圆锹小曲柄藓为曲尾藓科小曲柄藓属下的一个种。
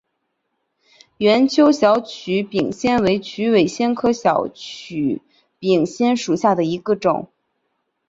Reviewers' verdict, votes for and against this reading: accepted, 2, 0